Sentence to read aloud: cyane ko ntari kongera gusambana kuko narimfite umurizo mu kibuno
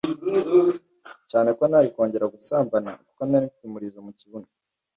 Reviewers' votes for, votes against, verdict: 2, 0, accepted